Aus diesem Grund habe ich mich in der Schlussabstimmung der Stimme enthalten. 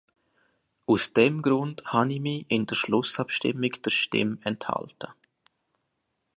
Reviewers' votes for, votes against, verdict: 0, 2, rejected